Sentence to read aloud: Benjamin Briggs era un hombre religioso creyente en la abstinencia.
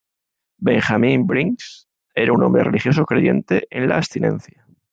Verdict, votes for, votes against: rejected, 0, 2